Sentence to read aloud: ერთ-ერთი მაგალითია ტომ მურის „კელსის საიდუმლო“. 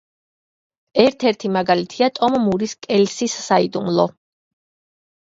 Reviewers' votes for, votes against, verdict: 1, 2, rejected